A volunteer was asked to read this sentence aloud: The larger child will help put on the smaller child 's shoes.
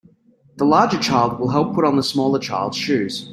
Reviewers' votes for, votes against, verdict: 2, 0, accepted